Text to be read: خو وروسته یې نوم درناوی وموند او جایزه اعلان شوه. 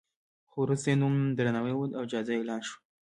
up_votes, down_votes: 2, 1